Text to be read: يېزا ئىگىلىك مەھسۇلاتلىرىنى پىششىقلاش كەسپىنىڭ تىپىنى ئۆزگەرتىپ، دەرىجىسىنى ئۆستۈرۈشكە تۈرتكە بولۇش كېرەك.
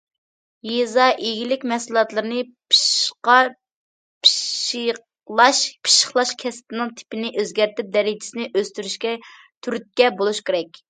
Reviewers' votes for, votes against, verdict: 0, 2, rejected